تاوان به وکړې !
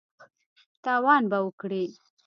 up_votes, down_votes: 2, 0